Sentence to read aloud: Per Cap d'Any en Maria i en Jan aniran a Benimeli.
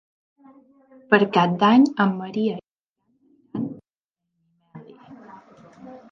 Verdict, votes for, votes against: rejected, 0, 2